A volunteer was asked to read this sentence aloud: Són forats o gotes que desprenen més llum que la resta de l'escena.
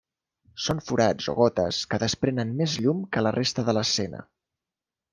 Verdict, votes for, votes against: accepted, 3, 0